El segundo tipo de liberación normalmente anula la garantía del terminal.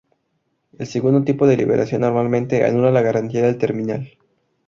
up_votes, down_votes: 0, 2